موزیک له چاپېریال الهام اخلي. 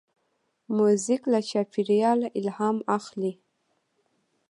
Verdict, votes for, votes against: accepted, 2, 0